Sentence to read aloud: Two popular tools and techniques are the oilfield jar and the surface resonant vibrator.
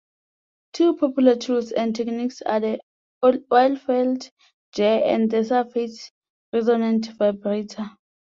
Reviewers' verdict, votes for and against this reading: accepted, 2, 1